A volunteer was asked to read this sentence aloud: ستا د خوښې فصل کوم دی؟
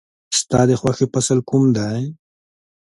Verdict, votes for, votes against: accepted, 2, 0